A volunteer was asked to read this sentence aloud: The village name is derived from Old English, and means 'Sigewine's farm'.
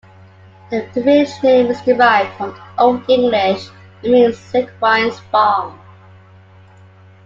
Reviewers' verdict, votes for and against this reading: accepted, 2, 0